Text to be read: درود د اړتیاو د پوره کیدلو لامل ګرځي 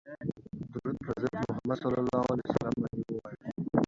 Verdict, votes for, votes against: rejected, 1, 3